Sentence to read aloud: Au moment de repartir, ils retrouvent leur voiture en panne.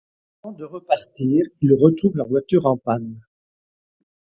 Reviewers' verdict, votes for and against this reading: rejected, 0, 2